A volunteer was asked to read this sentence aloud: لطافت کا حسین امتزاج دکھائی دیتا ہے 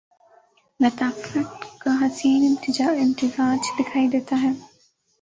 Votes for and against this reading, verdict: 1, 2, rejected